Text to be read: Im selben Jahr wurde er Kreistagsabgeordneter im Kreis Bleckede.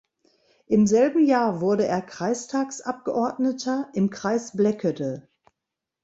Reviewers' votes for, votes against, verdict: 2, 0, accepted